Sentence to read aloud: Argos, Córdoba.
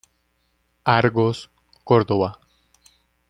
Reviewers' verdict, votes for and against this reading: accepted, 2, 0